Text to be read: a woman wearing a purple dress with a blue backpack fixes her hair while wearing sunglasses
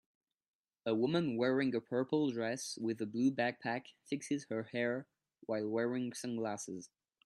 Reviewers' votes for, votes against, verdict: 2, 0, accepted